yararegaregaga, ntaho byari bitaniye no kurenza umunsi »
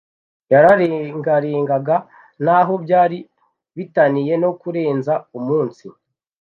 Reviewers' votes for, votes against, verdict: 1, 2, rejected